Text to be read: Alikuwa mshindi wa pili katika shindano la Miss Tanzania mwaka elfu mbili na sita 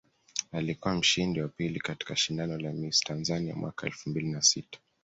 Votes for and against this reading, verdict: 3, 0, accepted